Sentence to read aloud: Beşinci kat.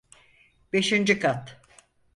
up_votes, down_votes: 4, 0